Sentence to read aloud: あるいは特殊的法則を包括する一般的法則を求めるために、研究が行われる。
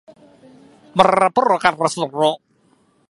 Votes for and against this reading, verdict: 0, 2, rejected